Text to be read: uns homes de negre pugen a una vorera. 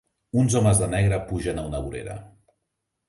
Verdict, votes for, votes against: accepted, 5, 1